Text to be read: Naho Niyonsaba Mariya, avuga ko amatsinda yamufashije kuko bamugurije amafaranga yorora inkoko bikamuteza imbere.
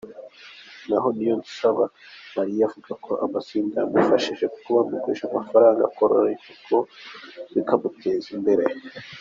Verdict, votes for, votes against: accepted, 2, 0